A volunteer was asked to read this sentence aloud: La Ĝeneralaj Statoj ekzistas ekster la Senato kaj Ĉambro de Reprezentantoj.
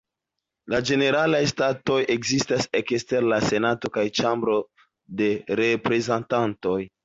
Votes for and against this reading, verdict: 1, 2, rejected